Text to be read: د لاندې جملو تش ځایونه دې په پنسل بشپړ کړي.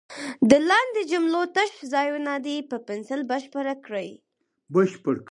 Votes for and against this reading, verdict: 2, 4, rejected